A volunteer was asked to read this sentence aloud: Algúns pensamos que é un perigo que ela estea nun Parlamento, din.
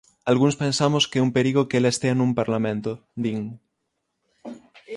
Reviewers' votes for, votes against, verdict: 6, 0, accepted